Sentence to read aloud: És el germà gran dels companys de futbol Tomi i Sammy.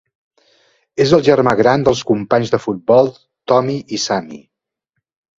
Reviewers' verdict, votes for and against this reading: accepted, 3, 0